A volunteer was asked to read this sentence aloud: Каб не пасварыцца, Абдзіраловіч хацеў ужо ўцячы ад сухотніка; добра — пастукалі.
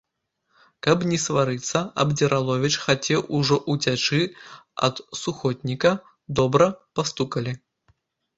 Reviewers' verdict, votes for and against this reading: rejected, 0, 2